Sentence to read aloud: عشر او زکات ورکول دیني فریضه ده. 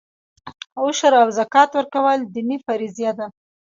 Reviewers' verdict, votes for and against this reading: accepted, 2, 1